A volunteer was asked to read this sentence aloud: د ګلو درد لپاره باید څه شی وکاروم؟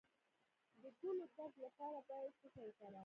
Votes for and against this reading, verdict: 2, 0, accepted